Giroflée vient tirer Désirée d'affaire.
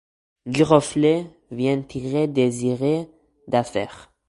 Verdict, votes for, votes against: rejected, 1, 2